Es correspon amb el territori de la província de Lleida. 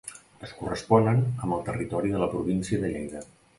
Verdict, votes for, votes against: rejected, 0, 2